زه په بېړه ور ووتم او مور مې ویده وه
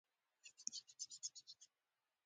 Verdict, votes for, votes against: rejected, 0, 2